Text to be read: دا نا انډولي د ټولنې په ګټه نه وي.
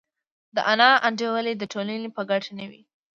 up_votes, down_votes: 0, 2